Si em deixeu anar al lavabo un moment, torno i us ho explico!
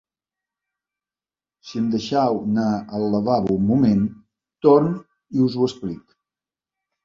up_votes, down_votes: 0, 2